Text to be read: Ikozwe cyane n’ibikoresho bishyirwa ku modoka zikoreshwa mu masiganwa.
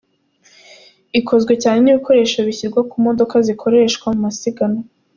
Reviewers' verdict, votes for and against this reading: accepted, 2, 0